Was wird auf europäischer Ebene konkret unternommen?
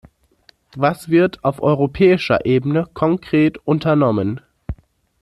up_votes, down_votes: 2, 0